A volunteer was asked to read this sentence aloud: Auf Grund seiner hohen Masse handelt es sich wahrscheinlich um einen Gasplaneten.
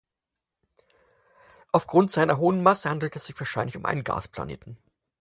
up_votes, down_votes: 4, 0